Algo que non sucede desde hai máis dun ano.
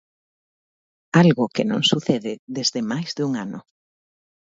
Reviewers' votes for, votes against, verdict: 1, 2, rejected